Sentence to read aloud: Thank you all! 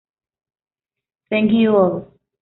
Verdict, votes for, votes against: rejected, 1, 2